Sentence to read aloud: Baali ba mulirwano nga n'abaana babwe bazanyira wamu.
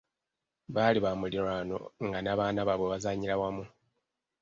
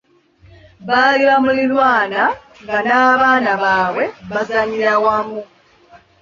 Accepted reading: first